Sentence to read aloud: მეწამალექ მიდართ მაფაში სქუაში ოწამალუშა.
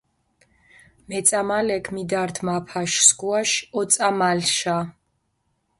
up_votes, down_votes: 0, 2